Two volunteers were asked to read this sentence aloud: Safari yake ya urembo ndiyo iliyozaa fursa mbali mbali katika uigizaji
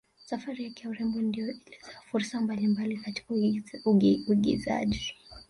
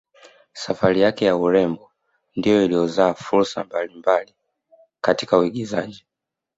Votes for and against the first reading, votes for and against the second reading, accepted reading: 0, 2, 2, 0, second